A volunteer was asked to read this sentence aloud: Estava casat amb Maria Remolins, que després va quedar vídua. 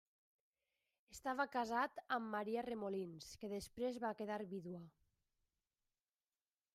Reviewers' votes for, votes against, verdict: 1, 2, rejected